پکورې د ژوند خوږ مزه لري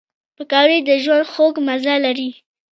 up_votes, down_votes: 0, 2